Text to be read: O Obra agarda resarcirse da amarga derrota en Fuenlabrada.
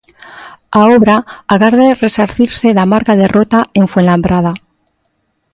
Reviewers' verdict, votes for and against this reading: rejected, 1, 2